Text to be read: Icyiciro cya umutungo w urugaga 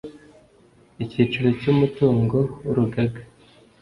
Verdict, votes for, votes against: accepted, 2, 0